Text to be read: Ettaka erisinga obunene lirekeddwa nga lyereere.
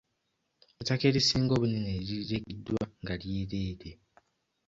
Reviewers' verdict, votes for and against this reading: rejected, 1, 2